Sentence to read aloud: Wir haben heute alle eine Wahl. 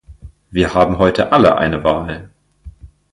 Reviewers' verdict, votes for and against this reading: accepted, 2, 0